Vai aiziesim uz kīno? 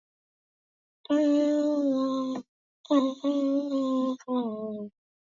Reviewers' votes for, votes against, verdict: 0, 2, rejected